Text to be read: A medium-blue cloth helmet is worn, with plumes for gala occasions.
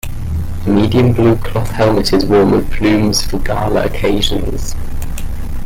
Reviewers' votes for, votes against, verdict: 1, 2, rejected